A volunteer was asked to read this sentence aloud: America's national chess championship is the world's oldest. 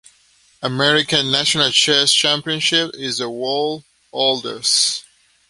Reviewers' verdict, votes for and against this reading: accepted, 2, 0